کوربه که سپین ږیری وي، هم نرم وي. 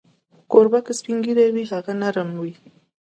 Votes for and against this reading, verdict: 2, 0, accepted